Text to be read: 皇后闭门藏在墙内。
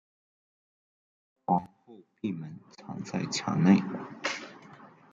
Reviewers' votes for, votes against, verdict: 0, 2, rejected